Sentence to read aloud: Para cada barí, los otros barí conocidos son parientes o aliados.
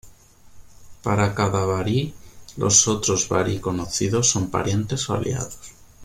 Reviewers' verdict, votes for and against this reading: accepted, 2, 0